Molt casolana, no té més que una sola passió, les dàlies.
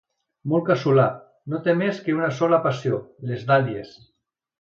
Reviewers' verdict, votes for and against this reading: rejected, 1, 2